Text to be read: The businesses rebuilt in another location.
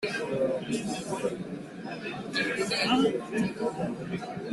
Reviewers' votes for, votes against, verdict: 0, 2, rejected